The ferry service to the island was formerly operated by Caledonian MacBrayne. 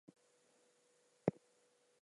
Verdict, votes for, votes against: rejected, 0, 2